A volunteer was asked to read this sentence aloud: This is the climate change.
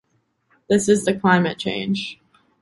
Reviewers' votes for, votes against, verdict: 2, 0, accepted